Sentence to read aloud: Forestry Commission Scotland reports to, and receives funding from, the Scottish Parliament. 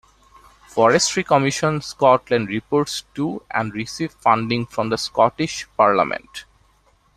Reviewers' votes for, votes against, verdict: 2, 0, accepted